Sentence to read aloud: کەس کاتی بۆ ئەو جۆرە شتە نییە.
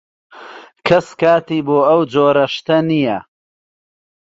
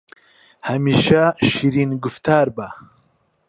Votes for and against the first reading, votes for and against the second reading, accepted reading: 2, 0, 0, 2, first